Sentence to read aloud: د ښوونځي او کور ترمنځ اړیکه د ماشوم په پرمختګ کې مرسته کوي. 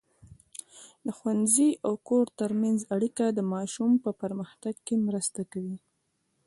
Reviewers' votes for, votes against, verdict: 1, 2, rejected